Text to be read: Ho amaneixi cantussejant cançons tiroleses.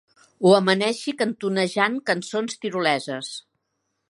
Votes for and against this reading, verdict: 1, 2, rejected